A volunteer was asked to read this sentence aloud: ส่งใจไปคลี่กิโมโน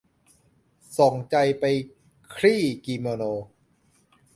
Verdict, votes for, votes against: accepted, 2, 0